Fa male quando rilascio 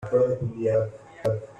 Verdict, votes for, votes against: rejected, 0, 2